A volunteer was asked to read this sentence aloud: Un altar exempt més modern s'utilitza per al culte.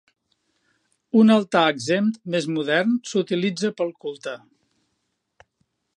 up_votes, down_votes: 0, 2